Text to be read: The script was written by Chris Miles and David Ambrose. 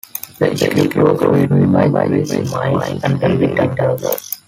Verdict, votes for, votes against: rejected, 0, 2